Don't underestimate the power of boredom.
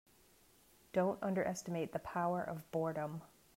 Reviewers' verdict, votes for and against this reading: accepted, 3, 0